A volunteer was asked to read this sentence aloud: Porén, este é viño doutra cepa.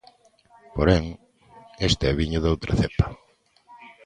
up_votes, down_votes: 2, 0